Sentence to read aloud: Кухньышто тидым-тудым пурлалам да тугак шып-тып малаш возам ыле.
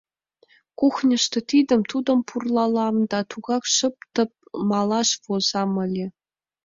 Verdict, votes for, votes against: accepted, 2, 0